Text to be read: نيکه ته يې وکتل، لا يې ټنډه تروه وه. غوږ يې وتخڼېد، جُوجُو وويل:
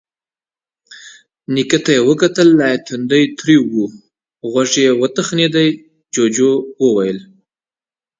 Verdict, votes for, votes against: accepted, 2, 0